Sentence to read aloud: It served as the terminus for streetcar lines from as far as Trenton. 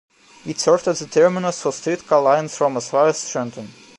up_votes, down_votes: 2, 1